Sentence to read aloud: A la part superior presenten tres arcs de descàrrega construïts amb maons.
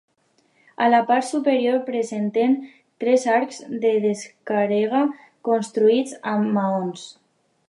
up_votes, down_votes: 0, 2